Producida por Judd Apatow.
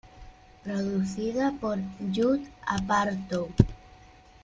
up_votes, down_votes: 2, 0